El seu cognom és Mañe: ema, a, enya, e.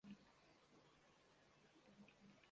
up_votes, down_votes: 0, 2